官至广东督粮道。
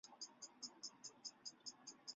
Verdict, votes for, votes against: rejected, 0, 2